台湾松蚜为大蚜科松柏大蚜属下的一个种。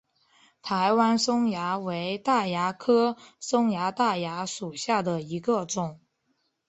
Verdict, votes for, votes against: accepted, 2, 1